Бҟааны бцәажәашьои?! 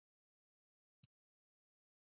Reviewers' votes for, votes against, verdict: 0, 2, rejected